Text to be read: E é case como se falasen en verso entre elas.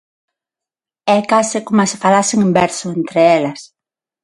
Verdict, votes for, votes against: accepted, 6, 3